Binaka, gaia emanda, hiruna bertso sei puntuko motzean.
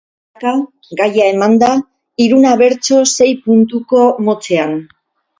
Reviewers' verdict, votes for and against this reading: rejected, 0, 2